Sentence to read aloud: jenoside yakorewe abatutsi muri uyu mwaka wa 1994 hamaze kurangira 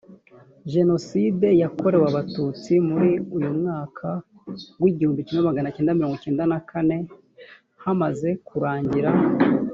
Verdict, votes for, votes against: rejected, 0, 2